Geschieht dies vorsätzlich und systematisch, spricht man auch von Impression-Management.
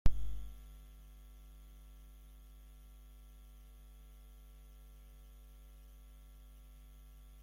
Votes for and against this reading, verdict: 0, 2, rejected